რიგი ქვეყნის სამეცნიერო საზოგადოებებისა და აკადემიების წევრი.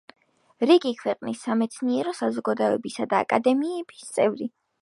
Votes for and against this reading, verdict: 2, 1, accepted